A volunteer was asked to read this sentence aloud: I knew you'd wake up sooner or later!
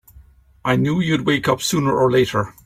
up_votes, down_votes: 3, 0